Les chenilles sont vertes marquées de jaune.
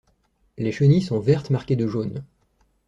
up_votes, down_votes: 2, 0